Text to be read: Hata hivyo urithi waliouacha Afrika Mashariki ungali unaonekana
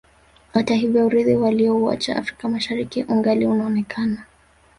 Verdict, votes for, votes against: rejected, 1, 2